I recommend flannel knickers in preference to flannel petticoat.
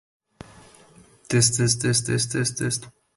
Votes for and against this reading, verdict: 0, 2, rejected